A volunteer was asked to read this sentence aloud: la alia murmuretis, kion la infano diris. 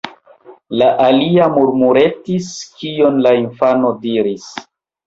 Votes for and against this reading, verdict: 1, 2, rejected